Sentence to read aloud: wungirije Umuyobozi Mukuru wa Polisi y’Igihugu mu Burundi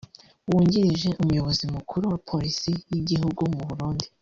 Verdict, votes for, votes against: rejected, 1, 2